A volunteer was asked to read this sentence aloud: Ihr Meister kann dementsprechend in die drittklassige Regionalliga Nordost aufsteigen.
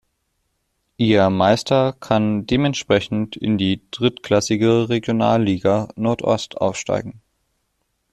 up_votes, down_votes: 2, 0